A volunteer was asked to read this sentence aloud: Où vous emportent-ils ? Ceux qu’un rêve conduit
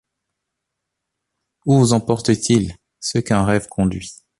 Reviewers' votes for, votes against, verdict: 2, 0, accepted